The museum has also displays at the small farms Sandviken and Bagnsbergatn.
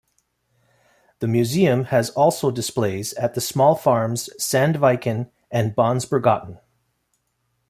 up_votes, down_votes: 2, 0